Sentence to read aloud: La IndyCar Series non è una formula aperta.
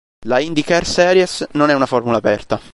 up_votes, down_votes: 1, 2